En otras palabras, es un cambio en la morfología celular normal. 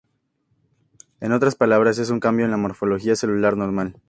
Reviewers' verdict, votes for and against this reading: accepted, 2, 0